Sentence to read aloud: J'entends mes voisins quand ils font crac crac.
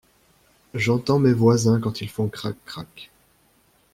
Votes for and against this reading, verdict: 2, 0, accepted